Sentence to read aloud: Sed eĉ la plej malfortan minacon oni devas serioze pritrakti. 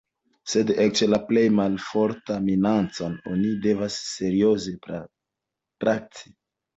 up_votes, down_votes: 1, 2